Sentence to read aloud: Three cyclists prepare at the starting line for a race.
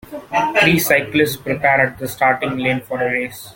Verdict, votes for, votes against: accepted, 2, 0